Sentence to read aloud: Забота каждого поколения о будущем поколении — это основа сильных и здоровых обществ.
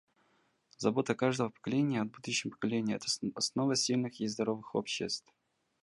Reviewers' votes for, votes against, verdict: 0, 2, rejected